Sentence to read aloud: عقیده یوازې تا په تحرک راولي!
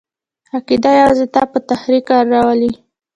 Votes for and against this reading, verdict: 2, 0, accepted